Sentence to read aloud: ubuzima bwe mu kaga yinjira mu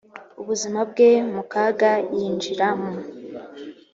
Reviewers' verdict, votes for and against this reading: accepted, 2, 0